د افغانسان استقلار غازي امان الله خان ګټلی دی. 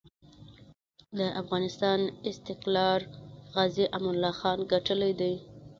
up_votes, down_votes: 0, 2